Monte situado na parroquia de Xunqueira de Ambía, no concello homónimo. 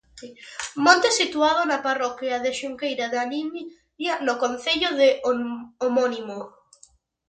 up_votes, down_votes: 0, 2